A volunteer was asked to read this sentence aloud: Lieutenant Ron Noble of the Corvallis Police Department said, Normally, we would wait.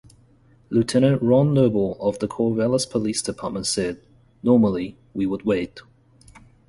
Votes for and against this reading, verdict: 2, 0, accepted